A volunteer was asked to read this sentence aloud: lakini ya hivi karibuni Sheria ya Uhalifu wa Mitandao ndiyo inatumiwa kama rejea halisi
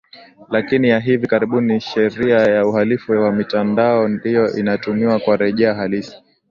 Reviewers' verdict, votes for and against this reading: accepted, 2, 1